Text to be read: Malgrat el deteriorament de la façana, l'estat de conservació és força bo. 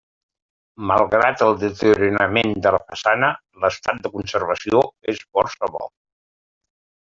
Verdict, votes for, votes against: rejected, 1, 2